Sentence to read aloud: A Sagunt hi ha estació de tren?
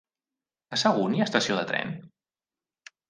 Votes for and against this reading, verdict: 3, 0, accepted